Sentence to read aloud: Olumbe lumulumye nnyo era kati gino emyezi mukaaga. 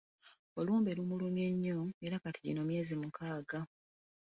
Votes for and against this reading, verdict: 2, 3, rejected